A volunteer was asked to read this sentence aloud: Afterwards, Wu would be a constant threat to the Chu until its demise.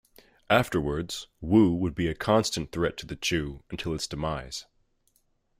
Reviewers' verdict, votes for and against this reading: accepted, 2, 0